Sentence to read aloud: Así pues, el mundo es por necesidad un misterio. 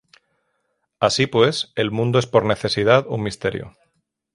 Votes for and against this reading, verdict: 6, 0, accepted